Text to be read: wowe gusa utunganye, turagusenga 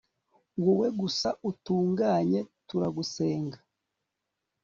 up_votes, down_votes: 3, 0